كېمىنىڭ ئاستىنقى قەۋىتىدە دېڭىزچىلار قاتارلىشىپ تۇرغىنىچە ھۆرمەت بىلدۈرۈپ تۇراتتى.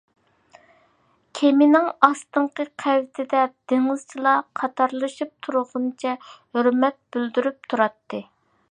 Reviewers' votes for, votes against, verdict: 2, 0, accepted